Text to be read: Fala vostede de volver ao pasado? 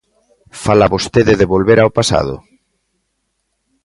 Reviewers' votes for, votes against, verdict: 2, 0, accepted